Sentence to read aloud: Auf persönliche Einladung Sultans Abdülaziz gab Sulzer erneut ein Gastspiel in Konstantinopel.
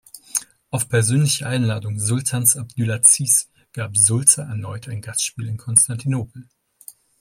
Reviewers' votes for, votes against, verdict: 1, 2, rejected